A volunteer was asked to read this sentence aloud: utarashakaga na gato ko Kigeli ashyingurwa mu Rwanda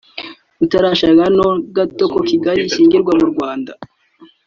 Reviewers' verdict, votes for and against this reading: accepted, 2, 1